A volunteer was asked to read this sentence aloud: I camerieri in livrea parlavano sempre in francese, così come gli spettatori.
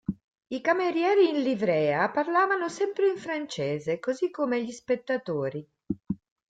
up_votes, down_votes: 2, 0